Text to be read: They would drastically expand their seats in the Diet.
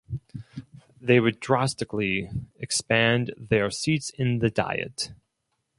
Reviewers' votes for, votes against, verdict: 2, 2, rejected